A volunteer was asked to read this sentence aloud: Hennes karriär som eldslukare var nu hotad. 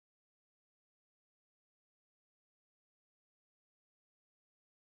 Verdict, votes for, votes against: rejected, 0, 2